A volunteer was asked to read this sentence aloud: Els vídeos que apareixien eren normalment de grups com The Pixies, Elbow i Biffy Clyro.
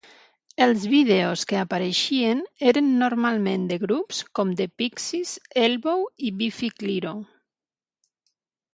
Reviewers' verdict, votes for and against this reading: accepted, 3, 0